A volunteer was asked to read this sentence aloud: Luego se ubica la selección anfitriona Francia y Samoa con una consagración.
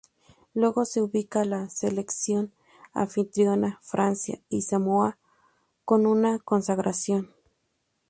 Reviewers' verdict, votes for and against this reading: rejected, 0, 2